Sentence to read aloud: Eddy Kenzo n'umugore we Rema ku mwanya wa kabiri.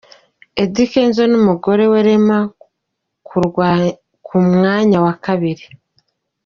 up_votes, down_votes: 2, 1